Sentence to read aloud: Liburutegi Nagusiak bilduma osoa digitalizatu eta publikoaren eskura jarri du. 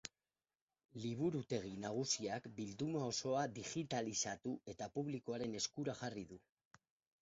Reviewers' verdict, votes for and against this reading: rejected, 2, 2